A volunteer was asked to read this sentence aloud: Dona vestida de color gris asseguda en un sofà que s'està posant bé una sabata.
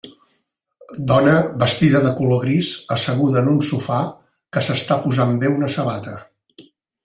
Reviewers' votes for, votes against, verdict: 1, 2, rejected